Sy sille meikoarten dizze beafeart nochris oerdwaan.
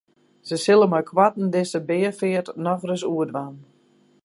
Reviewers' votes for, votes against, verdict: 4, 0, accepted